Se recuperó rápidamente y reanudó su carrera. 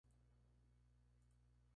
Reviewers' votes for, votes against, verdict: 0, 2, rejected